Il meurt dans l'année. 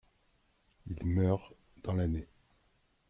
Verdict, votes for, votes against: rejected, 1, 2